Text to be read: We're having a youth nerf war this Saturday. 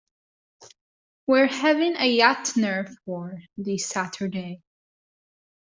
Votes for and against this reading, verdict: 0, 2, rejected